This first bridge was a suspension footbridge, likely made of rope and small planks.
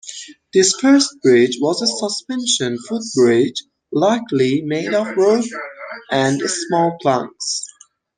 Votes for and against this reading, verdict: 0, 2, rejected